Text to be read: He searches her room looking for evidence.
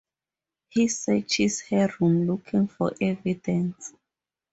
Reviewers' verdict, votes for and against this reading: accepted, 4, 0